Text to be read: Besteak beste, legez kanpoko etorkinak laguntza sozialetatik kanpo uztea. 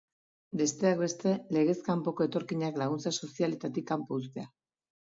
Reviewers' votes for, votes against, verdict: 2, 0, accepted